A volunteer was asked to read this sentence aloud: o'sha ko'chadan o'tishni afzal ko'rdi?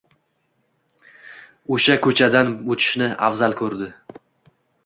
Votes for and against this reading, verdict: 2, 0, accepted